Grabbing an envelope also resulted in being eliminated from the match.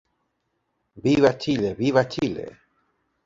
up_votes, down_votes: 0, 2